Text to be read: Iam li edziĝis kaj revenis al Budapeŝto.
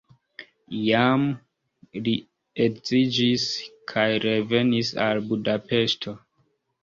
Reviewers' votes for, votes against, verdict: 0, 2, rejected